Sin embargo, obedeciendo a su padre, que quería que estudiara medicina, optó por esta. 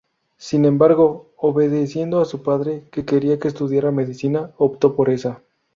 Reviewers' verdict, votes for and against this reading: rejected, 2, 2